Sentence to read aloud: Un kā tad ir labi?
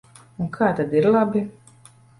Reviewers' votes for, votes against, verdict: 2, 0, accepted